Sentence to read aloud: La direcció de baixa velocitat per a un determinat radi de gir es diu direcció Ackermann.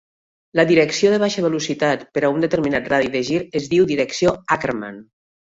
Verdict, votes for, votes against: accepted, 2, 0